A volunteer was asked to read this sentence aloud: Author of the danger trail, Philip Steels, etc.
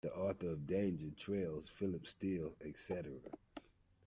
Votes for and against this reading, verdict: 1, 2, rejected